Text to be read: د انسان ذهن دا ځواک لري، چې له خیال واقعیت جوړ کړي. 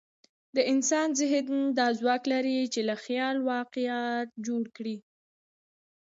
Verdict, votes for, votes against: accepted, 2, 0